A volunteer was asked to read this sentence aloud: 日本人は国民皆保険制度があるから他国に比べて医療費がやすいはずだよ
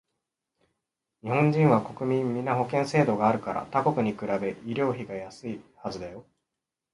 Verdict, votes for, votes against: rejected, 0, 2